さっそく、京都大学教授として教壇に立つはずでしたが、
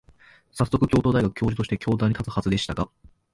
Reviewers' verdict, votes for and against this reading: accepted, 2, 0